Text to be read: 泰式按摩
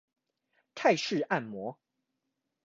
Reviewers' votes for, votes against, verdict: 2, 1, accepted